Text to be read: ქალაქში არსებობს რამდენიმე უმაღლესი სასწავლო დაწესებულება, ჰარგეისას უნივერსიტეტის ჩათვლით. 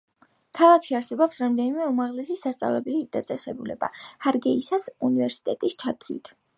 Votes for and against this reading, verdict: 0, 2, rejected